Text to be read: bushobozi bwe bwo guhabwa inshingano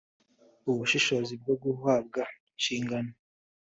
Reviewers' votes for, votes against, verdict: 1, 2, rejected